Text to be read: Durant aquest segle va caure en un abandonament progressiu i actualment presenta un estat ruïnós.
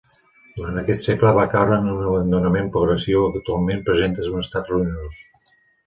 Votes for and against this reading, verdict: 1, 2, rejected